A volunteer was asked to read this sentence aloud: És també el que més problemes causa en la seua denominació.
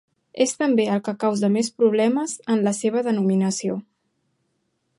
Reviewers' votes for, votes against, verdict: 1, 2, rejected